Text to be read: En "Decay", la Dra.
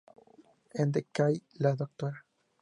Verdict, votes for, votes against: accepted, 4, 0